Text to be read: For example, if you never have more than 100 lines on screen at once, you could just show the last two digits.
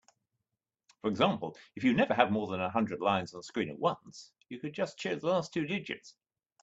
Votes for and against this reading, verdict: 0, 2, rejected